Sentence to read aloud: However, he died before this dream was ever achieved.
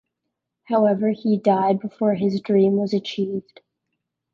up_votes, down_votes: 0, 2